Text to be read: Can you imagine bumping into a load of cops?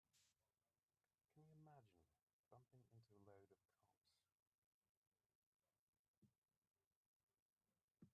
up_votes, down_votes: 0, 2